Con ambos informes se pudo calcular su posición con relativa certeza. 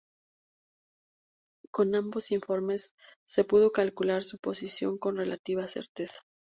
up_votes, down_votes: 2, 0